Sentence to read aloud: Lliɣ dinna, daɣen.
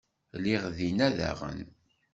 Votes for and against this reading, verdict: 2, 0, accepted